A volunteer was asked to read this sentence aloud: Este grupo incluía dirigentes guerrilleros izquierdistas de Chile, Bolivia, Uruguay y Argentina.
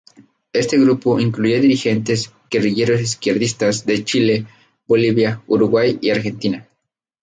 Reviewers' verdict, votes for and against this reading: rejected, 2, 2